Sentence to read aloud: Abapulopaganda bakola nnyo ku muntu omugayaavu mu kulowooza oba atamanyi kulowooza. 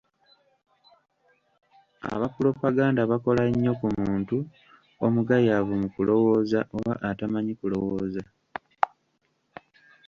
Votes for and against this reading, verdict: 1, 2, rejected